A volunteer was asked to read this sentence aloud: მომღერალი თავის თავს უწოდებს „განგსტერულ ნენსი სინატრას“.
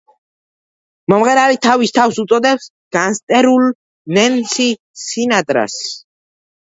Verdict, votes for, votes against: rejected, 1, 2